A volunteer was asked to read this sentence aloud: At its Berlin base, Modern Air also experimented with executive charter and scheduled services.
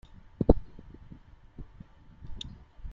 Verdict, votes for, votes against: rejected, 0, 2